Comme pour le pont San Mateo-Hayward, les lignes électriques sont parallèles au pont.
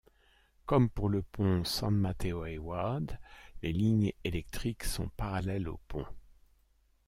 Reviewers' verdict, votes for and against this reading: accepted, 2, 1